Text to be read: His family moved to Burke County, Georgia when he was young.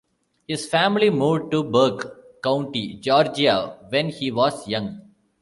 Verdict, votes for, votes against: rejected, 1, 2